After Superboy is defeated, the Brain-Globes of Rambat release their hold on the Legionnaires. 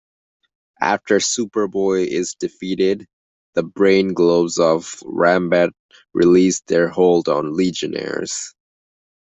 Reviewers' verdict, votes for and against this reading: accepted, 2, 1